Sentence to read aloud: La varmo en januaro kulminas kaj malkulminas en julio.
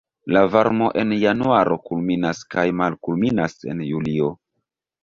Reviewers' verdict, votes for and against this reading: rejected, 1, 2